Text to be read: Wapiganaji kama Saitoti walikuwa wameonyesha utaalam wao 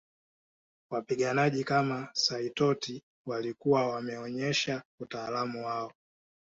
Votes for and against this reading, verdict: 2, 0, accepted